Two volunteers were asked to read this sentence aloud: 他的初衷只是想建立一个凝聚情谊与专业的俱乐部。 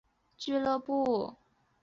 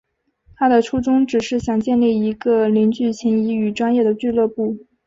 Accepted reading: second